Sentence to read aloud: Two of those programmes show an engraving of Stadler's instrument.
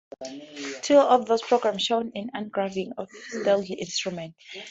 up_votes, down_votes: 2, 0